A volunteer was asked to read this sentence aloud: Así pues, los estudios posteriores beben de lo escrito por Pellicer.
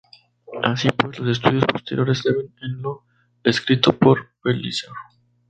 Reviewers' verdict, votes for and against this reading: rejected, 0, 2